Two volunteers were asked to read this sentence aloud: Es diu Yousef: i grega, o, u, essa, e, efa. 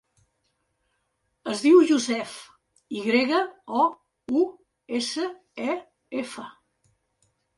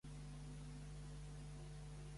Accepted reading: first